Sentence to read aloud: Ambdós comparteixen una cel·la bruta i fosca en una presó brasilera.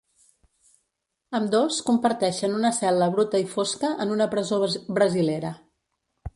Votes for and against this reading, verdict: 1, 2, rejected